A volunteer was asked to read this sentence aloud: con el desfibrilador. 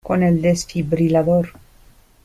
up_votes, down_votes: 2, 0